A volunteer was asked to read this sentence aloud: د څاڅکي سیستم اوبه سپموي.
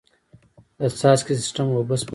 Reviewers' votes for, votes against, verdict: 2, 1, accepted